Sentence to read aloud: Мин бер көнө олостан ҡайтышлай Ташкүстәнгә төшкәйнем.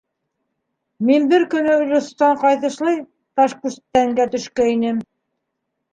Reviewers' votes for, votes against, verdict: 0, 2, rejected